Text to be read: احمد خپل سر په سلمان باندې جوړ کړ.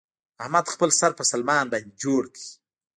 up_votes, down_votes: 1, 2